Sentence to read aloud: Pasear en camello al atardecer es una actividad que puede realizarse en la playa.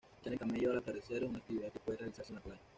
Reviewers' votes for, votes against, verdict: 1, 2, rejected